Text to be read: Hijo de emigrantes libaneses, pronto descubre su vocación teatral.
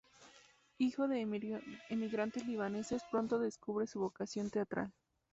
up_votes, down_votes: 0, 2